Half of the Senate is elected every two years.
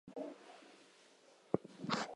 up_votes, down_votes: 0, 2